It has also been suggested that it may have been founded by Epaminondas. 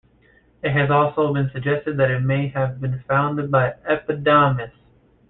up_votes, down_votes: 0, 2